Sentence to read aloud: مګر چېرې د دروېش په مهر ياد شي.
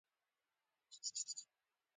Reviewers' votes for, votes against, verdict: 2, 0, accepted